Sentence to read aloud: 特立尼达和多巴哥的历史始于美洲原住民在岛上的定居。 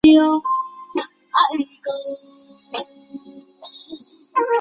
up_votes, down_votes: 1, 2